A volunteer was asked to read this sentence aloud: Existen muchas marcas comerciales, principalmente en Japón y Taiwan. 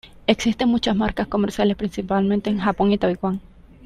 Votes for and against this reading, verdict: 2, 0, accepted